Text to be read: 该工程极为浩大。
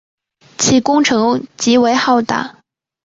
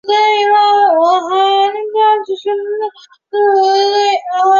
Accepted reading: first